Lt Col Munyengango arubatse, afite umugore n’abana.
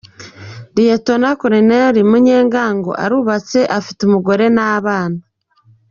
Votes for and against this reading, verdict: 2, 0, accepted